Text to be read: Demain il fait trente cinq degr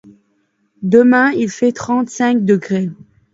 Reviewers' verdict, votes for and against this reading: rejected, 1, 2